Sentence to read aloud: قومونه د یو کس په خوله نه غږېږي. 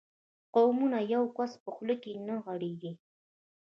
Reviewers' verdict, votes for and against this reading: rejected, 1, 2